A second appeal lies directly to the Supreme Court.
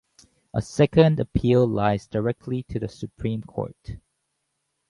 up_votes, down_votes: 4, 0